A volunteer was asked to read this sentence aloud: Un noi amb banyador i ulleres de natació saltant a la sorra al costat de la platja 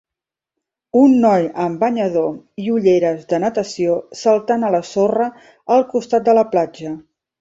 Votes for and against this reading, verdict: 2, 0, accepted